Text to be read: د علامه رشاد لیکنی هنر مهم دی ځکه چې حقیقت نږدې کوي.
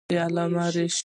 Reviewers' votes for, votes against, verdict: 1, 2, rejected